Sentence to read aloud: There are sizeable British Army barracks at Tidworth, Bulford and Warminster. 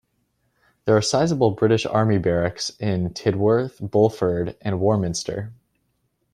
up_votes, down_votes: 1, 2